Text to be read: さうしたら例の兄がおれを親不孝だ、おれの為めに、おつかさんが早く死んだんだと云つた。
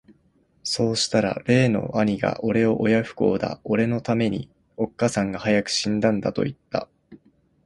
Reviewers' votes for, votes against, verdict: 3, 0, accepted